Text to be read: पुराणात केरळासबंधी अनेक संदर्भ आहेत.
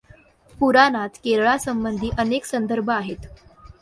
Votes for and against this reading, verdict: 2, 0, accepted